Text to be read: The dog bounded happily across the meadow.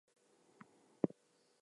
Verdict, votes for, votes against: rejected, 0, 2